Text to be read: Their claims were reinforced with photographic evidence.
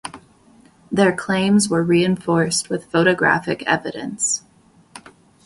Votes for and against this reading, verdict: 2, 0, accepted